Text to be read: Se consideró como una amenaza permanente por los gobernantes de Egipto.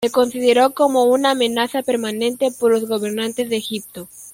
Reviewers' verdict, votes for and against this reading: accepted, 2, 0